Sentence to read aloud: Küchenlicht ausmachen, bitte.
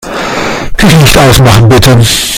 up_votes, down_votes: 0, 2